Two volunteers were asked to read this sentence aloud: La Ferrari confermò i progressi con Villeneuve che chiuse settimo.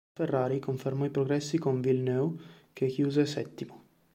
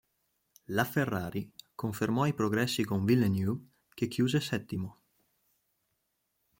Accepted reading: first